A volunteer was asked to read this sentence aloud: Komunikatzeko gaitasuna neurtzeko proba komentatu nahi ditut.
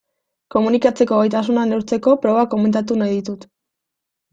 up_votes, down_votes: 2, 0